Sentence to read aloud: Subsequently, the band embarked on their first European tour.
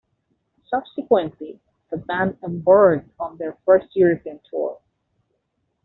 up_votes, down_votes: 0, 2